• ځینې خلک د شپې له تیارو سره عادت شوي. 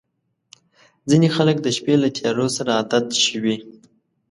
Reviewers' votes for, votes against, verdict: 2, 0, accepted